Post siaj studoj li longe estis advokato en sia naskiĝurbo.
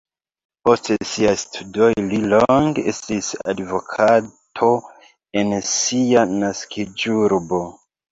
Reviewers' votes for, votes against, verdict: 1, 2, rejected